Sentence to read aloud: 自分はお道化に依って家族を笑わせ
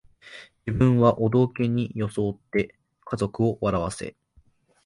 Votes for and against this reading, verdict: 0, 2, rejected